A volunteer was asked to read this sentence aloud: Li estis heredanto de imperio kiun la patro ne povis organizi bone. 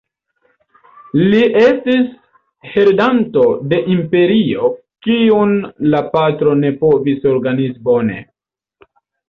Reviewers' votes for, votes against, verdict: 1, 2, rejected